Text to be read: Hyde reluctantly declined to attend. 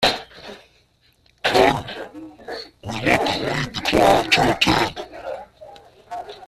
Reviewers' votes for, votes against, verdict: 0, 2, rejected